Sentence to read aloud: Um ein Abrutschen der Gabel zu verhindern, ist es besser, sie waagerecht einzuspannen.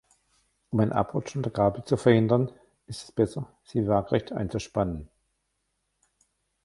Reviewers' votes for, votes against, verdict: 1, 2, rejected